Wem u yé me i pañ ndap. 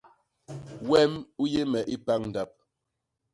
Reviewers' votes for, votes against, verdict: 0, 2, rejected